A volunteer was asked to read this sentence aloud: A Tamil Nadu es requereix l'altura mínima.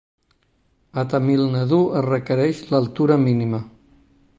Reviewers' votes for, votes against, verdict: 3, 0, accepted